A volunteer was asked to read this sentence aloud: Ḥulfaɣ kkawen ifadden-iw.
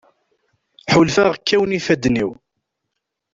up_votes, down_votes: 2, 0